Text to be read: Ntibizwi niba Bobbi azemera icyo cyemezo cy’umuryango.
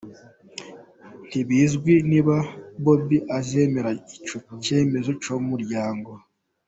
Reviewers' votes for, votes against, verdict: 2, 1, accepted